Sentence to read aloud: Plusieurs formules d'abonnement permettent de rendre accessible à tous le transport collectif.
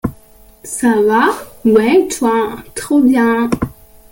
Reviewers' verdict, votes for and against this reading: rejected, 0, 2